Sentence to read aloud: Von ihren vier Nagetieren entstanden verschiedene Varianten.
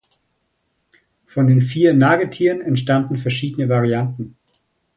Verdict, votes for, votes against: rejected, 1, 2